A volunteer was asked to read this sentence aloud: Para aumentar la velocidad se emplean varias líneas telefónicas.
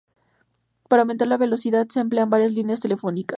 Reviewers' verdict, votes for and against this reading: rejected, 2, 2